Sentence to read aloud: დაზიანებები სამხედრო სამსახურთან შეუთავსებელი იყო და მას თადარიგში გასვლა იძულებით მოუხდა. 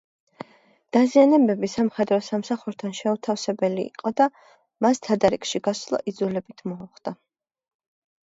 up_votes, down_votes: 3, 1